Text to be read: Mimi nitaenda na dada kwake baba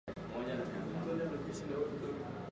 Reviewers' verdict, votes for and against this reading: rejected, 3, 8